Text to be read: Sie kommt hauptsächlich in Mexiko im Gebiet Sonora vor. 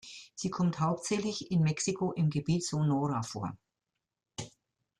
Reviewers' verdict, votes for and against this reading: accepted, 2, 0